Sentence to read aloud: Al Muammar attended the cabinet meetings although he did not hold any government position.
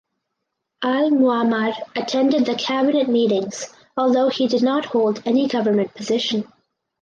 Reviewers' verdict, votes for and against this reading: accepted, 4, 0